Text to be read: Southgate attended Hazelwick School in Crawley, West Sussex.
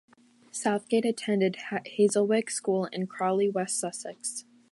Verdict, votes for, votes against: rejected, 0, 2